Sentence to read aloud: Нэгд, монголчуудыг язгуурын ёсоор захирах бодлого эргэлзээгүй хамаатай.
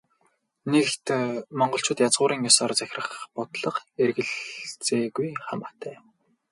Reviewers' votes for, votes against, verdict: 0, 2, rejected